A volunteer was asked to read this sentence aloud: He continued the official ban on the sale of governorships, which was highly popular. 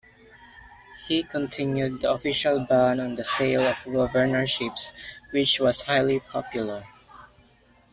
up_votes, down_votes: 2, 0